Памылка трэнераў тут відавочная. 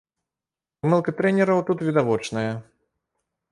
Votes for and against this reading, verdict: 2, 0, accepted